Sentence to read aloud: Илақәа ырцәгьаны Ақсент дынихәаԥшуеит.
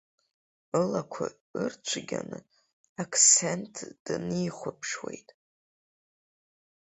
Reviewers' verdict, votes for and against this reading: rejected, 1, 2